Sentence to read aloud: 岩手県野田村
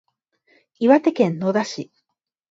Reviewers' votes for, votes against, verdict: 2, 14, rejected